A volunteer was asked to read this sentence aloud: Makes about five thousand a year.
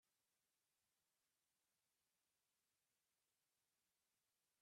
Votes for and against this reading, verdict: 0, 2, rejected